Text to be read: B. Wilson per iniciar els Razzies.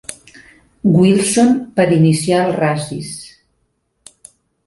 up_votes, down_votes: 0, 2